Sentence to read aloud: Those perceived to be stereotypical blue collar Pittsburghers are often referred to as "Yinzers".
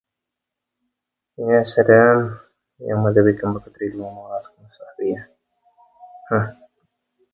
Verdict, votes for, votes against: rejected, 0, 2